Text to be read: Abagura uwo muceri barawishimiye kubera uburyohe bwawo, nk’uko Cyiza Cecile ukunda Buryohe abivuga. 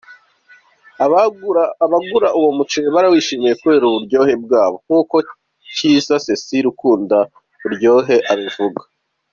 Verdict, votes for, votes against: rejected, 1, 2